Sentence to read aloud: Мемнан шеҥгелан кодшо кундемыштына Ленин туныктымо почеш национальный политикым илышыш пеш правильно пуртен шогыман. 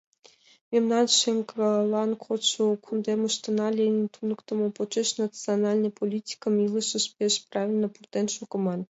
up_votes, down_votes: 2, 1